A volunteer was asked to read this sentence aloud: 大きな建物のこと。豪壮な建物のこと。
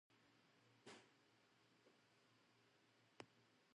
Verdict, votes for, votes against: accepted, 2, 0